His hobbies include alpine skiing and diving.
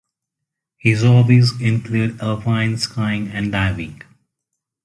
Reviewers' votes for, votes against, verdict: 0, 2, rejected